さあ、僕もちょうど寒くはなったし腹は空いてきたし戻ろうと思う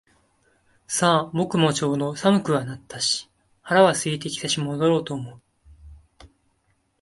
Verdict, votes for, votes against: accepted, 2, 0